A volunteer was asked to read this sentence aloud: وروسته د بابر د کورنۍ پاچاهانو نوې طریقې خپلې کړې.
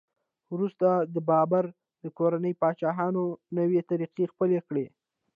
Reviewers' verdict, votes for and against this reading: rejected, 0, 2